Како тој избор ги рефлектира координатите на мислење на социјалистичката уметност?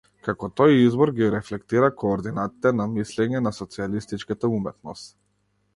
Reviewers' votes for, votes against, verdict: 0, 2, rejected